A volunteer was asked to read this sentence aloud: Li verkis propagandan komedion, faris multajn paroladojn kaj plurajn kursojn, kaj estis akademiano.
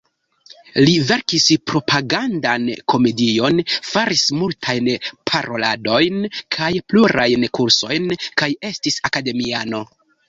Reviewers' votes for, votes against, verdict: 0, 2, rejected